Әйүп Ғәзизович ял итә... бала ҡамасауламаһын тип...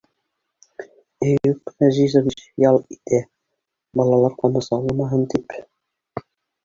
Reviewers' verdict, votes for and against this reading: rejected, 1, 2